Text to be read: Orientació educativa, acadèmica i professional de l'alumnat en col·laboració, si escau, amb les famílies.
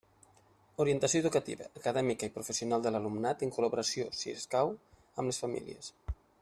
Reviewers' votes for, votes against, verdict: 1, 2, rejected